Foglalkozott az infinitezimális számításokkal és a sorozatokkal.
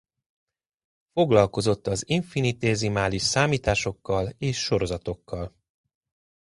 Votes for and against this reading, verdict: 0, 2, rejected